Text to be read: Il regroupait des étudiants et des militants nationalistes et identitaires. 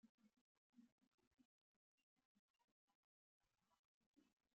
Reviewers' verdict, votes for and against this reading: rejected, 0, 2